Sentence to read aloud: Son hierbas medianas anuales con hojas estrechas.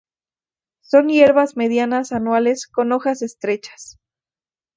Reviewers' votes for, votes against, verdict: 2, 0, accepted